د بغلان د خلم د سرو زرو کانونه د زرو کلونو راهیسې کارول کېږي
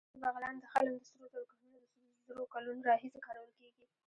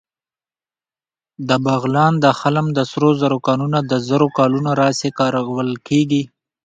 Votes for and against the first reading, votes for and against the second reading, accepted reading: 1, 2, 2, 0, second